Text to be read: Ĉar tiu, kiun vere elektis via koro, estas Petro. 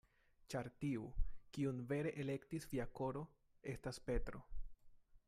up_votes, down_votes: 2, 0